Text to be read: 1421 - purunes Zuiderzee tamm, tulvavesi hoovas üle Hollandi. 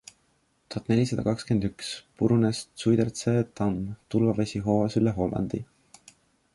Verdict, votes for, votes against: rejected, 0, 2